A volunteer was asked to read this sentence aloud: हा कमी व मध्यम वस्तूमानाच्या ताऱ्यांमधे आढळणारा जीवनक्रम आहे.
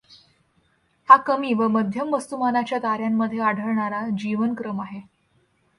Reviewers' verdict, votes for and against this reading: accepted, 2, 0